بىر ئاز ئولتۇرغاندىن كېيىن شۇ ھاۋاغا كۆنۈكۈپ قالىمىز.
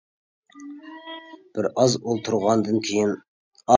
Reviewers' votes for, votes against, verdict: 0, 2, rejected